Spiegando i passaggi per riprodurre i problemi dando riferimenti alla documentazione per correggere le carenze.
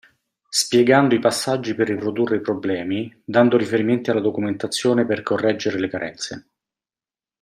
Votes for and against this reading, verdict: 2, 0, accepted